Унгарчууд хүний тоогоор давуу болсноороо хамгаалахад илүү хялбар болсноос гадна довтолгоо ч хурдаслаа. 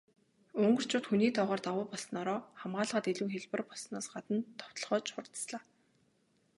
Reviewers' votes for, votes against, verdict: 2, 0, accepted